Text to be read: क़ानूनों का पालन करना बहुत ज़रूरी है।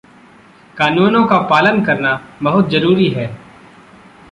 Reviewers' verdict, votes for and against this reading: accepted, 2, 0